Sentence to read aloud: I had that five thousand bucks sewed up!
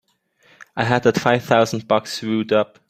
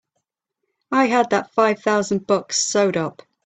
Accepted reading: second